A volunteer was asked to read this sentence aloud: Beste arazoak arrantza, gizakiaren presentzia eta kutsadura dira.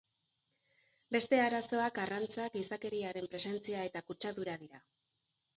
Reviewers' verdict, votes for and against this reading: rejected, 2, 3